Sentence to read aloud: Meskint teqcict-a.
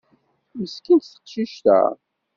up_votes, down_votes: 2, 0